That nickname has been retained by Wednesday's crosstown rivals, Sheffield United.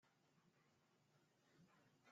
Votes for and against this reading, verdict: 0, 2, rejected